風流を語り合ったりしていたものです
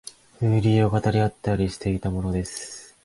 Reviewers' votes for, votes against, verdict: 2, 0, accepted